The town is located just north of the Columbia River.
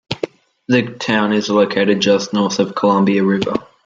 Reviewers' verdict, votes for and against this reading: rejected, 1, 2